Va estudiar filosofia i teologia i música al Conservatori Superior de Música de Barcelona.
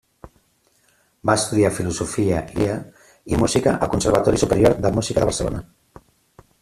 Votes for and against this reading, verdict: 0, 2, rejected